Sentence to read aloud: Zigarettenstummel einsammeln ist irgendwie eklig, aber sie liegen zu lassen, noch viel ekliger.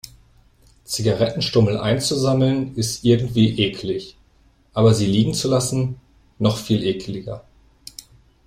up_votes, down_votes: 0, 2